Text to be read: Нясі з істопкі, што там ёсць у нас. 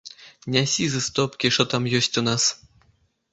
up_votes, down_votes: 1, 2